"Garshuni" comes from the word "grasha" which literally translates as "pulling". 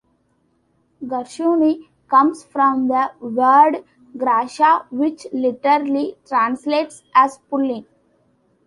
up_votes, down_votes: 2, 0